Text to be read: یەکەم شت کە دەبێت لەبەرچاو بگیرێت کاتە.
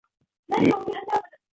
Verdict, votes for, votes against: rejected, 0, 2